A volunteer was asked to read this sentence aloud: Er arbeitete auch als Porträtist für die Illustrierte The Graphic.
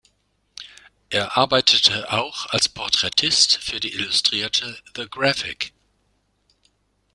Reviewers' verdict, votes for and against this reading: accepted, 2, 0